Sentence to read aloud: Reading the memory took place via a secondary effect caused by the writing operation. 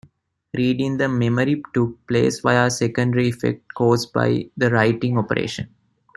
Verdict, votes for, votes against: accepted, 2, 0